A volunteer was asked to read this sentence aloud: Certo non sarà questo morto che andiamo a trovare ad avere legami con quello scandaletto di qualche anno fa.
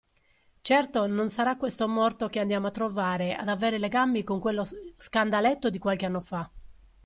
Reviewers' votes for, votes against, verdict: 0, 2, rejected